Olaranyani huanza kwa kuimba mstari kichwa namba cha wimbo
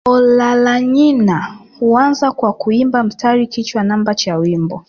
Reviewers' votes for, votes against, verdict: 2, 0, accepted